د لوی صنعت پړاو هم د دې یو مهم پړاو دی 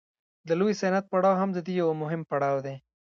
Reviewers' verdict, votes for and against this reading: rejected, 1, 2